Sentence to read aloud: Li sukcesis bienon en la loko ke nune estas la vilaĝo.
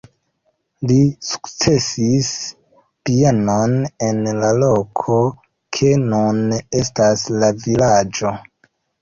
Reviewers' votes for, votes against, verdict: 0, 2, rejected